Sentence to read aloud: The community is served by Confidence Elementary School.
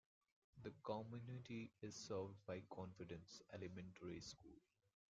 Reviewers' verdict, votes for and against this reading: rejected, 1, 2